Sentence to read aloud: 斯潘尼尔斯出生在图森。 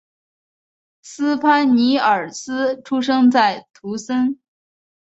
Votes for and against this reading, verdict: 3, 0, accepted